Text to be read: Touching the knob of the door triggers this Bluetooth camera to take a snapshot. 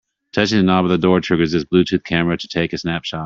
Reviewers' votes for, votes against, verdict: 1, 2, rejected